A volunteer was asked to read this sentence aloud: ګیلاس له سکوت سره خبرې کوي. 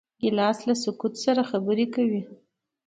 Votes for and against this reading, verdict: 2, 1, accepted